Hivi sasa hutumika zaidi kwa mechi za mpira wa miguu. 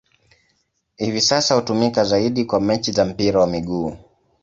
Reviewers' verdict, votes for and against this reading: accepted, 2, 0